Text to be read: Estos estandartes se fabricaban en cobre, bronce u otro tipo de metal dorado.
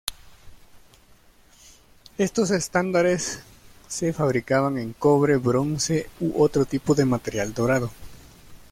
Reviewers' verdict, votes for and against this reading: rejected, 0, 2